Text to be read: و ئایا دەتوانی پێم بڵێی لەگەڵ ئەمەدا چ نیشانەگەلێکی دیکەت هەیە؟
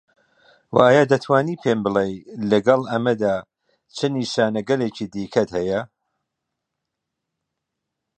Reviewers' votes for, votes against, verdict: 2, 0, accepted